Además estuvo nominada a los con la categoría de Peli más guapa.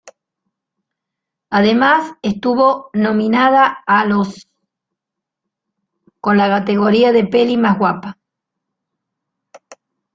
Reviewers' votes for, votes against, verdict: 2, 1, accepted